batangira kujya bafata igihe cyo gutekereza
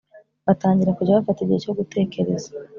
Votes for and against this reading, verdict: 5, 0, accepted